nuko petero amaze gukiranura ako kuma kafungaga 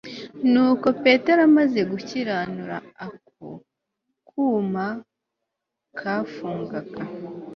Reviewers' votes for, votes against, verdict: 2, 0, accepted